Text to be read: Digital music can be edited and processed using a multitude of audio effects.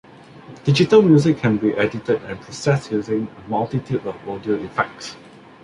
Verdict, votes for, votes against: rejected, 1, 2